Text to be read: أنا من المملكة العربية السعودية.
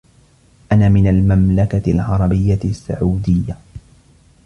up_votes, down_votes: 2, 0